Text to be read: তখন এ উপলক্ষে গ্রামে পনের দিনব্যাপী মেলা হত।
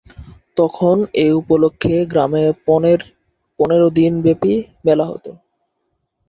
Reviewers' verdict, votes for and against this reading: accepted, 3, 1